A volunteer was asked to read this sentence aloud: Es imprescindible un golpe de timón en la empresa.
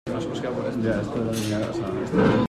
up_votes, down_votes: 0, 3